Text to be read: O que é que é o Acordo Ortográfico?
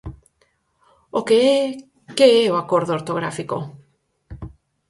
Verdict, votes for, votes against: accepted, 4, 0